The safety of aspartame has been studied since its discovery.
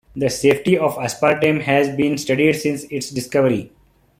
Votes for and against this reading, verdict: 2, 0, accepted